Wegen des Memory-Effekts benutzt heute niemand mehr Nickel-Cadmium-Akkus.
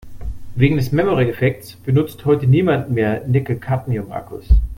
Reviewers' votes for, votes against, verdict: 2, 0, accepted